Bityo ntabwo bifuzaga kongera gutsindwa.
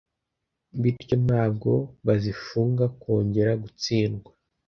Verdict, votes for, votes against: rejected, 1, 2